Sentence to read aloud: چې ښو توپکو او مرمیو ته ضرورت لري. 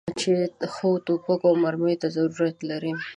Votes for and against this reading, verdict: 2, 0, accepted